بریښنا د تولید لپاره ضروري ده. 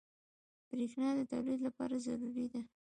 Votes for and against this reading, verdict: 2, 0, accepted